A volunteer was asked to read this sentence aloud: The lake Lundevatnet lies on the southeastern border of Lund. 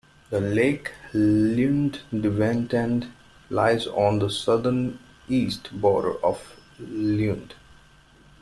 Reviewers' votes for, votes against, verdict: 0, 2, rejected